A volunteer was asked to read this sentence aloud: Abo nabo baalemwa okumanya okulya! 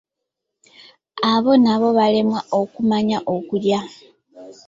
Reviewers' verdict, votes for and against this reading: accepted, 2, 1